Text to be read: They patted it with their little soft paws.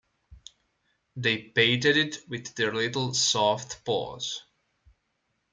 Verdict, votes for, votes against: accepted, 2, 1